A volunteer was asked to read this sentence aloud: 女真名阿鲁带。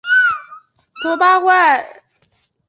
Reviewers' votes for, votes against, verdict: 0, 2, rejected